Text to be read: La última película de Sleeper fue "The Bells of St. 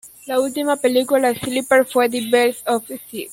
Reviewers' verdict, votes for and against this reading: accepted, 2, 1